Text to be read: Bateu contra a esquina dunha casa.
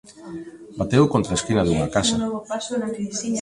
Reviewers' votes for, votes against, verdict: 1, 2, rejected